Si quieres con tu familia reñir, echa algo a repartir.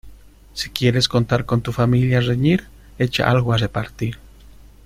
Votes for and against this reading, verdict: 0, 2, rejected